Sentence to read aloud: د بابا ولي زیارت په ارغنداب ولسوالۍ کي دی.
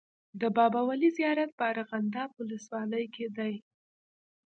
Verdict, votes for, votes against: accepted, 2, 1